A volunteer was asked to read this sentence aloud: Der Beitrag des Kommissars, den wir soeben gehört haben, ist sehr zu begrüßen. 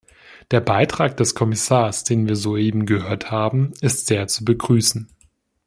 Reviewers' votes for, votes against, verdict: 2, 0, accepted